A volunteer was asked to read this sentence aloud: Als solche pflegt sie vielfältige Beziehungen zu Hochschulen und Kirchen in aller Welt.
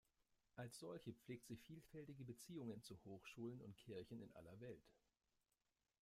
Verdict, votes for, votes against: accepted, 2, 0